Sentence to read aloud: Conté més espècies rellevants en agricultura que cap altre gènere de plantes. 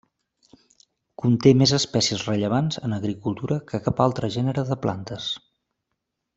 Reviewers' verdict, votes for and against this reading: accepted, 2, 0